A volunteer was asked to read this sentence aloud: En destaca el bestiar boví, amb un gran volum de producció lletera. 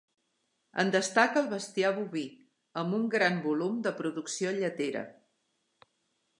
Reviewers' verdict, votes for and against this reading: accepted, 4, 0